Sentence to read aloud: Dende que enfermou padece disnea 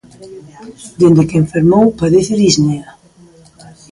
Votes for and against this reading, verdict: 3, 0, accepted